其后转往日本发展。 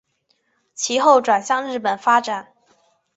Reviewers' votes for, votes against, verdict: 5, 0, accepted